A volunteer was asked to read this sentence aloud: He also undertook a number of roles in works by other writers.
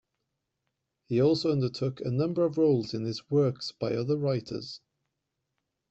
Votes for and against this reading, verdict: 0, 2, rejected